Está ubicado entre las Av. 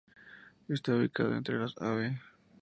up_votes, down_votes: 0, 2